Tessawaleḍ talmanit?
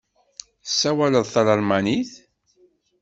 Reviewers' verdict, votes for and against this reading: rejected, 1, 2